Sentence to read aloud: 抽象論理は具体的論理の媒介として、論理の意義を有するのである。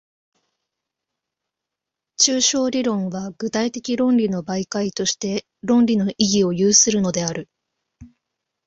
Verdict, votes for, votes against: rejected, 1, 2